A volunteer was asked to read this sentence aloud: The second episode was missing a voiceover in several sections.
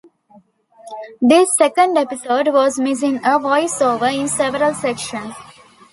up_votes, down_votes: 2, 1